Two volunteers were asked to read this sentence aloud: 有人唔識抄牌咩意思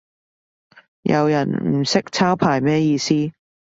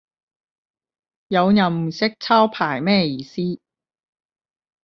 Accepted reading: first